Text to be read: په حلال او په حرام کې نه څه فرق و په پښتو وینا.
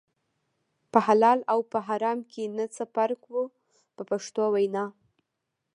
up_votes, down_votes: 2, 0